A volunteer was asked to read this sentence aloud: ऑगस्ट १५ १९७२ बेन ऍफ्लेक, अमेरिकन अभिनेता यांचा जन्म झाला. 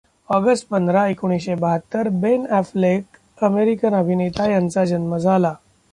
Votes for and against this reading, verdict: 0, 2, rejected